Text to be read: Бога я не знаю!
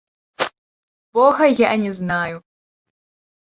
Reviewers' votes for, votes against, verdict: 1, 2, rejected